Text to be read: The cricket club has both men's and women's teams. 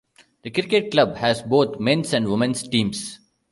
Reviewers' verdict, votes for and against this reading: rejected, 1, 2